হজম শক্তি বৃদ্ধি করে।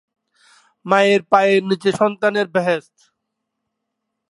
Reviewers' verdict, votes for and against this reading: rejected, 0, 3